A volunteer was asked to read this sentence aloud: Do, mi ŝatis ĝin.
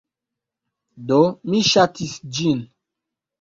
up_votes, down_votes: 2, 0